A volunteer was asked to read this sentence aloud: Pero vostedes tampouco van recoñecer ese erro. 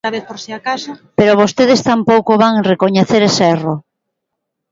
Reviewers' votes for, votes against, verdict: 0, 2, rejected